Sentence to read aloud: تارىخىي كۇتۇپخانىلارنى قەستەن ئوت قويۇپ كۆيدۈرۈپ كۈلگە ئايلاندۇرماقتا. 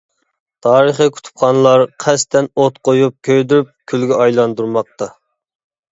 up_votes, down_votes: 0, 2